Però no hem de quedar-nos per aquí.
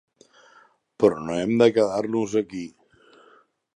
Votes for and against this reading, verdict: 0, 2, rejected